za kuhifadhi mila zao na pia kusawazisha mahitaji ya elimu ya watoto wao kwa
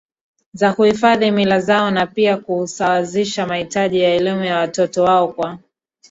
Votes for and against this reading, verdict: 1, 2, rejected